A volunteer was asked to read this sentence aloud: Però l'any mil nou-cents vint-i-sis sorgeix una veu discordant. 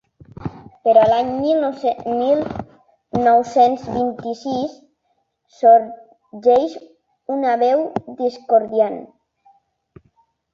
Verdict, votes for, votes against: rejected, 1, 3